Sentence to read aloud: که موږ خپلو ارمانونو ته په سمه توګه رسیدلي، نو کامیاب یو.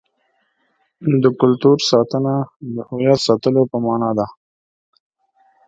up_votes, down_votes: 0, 2